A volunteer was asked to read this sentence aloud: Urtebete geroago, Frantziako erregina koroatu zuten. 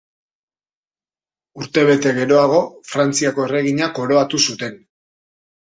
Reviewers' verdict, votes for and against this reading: accepted, 2, 0